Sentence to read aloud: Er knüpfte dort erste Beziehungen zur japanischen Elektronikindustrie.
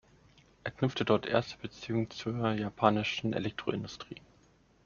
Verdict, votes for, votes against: rejected, 0, 2